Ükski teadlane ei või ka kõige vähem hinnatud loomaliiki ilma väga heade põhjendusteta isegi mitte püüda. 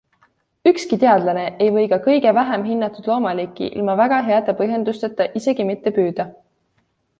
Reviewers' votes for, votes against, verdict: 2, 0, accepted